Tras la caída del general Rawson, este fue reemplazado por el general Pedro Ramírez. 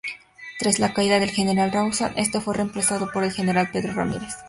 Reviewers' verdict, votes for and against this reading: accepted, 2, 0